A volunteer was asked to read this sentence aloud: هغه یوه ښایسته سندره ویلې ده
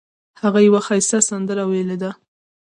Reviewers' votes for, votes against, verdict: 2, 0, accepted